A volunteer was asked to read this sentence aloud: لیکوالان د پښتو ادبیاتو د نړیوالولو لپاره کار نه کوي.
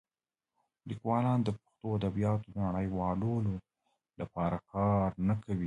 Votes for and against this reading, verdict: 1, 2, rejected